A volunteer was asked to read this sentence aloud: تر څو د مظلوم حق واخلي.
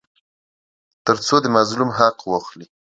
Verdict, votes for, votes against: accepted, 2, 0